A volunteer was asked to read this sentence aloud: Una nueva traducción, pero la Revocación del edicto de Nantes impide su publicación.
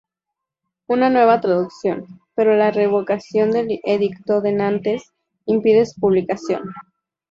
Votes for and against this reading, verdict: 0, 2, rejected